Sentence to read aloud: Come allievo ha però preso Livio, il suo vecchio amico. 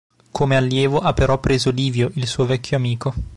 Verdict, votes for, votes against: accepted, 2, 0